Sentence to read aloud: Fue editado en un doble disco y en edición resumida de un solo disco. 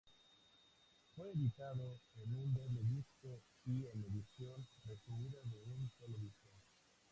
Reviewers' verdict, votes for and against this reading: rejected, 0, 2